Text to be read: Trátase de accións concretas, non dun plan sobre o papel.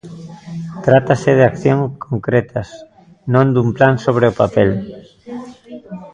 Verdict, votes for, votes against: rejected, 0, 2